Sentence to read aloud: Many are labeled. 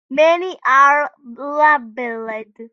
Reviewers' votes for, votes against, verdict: 1, 2, rejected